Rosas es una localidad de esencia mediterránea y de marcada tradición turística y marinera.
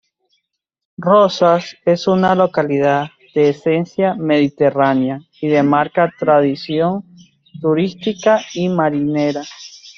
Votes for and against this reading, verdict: 0, 2, rejected